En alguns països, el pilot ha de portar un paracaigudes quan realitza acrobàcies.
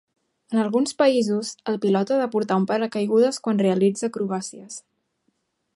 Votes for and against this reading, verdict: 2, 0, accepted